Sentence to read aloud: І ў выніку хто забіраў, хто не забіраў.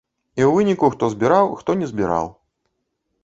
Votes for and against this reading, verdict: 0, 2, rejected